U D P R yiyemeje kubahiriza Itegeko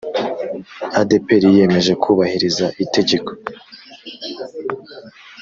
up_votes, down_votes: 1, 2